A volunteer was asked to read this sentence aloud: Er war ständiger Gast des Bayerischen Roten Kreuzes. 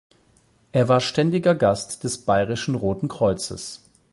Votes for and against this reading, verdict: 8, 0, accepted